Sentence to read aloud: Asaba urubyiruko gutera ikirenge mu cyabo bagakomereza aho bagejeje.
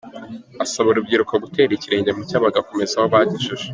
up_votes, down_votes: 2, 0